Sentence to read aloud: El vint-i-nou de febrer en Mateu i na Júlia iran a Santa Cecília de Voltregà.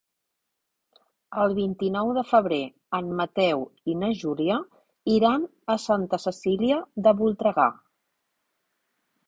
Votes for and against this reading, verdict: 3, 0, accepted